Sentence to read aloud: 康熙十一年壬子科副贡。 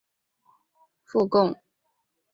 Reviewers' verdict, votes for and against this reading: rejected, 0, 3